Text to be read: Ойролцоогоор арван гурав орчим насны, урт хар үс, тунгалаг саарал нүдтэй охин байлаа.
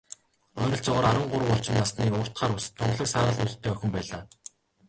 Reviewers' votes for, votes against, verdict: 1, 2, rejected